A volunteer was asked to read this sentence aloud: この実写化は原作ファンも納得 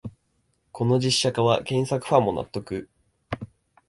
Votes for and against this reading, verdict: 2, 0, accepted